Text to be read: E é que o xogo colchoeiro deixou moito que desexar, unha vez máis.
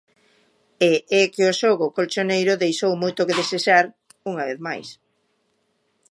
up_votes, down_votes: 0, 2